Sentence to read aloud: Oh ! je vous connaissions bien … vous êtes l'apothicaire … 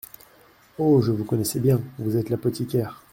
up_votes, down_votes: 0, 2